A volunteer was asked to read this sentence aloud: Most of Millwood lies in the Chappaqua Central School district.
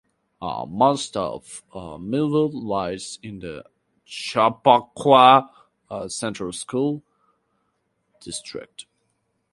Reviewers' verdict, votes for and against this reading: rejected, 2, 2